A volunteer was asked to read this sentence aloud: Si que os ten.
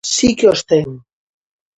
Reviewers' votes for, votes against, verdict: 2, 0, accepted